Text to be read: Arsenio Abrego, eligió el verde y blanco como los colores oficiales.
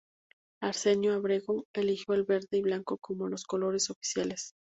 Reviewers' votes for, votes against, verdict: 0, 2, rejected